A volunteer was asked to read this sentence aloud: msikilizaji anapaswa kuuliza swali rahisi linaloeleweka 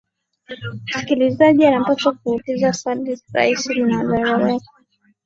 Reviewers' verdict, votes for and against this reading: rejected, 1, 2